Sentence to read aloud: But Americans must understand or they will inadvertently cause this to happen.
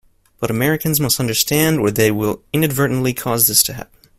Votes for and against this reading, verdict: 2, 0, accepted